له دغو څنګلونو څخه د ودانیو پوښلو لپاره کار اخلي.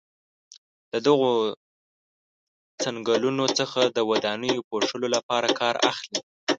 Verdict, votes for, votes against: accepted, 2, 0